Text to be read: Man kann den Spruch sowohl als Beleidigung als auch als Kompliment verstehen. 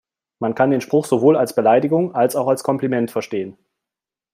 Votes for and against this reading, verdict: 2, 0, accepted